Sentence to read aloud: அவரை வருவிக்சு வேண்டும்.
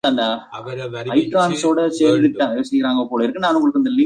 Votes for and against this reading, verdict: 1, 2, rejected